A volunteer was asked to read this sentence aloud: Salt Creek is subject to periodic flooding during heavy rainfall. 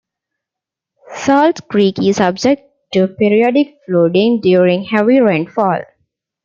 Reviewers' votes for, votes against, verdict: 2, 0, accepted